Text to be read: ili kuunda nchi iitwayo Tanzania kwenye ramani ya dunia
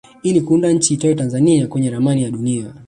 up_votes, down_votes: 1, 2